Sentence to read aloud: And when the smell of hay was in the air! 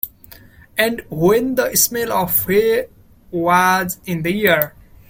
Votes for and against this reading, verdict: 2, 0, accepted